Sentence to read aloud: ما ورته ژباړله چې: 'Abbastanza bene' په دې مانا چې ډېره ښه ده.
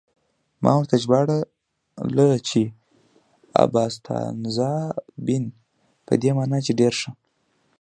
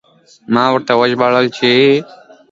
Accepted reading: second